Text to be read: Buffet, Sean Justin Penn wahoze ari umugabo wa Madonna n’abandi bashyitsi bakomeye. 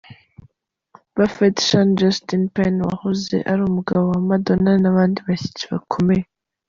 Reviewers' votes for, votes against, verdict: 2, 0, accepted